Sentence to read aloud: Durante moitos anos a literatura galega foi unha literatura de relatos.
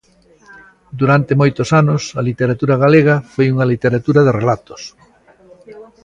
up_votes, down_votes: 2, 0